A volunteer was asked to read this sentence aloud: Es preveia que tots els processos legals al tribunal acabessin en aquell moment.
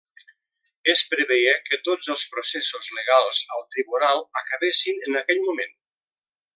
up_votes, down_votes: 2, 1